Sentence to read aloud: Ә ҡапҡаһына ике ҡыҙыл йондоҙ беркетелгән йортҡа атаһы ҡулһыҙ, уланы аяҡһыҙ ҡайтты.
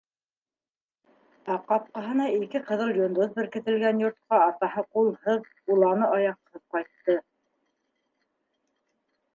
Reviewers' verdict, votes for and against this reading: accepted, 2, 0